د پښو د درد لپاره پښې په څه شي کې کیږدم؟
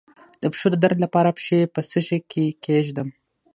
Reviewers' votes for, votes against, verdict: 3, 6, rejected